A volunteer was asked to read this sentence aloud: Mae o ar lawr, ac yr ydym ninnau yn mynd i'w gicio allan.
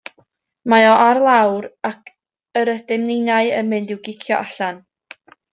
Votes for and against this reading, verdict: 2, 0, accepted